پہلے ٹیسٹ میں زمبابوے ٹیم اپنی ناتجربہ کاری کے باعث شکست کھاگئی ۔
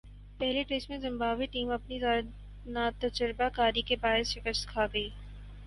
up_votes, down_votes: 0, 8